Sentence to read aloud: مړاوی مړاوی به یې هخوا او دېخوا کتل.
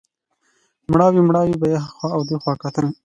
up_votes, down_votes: 2, 0